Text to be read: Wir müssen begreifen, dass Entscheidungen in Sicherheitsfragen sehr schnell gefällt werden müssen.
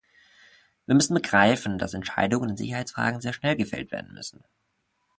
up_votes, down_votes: 2, 0